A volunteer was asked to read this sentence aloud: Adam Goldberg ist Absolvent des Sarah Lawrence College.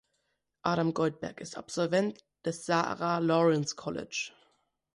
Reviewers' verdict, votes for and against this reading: accepted, 2, 0